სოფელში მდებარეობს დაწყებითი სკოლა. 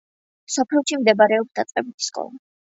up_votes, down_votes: 2, 1